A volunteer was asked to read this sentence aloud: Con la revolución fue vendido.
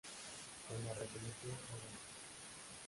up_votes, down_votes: 0, 2